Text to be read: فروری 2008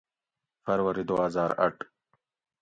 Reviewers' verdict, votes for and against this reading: rejected, 0, 2